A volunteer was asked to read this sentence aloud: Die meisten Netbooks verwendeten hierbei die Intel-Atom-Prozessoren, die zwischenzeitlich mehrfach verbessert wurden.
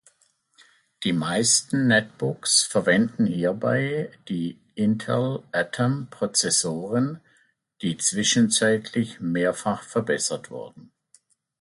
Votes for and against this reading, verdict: 1, 2, rejected